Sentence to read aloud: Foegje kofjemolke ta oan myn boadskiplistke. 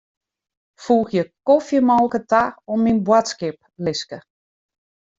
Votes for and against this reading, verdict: 2, 0, accepted